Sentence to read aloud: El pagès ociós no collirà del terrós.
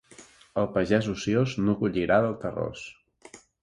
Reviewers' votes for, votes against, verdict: 2, 0, accepted